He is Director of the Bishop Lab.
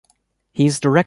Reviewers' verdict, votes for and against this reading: rejected, 1, 2